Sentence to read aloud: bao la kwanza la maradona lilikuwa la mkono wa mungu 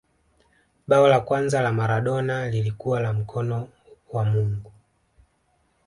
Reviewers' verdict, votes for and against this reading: accepted, 2, 0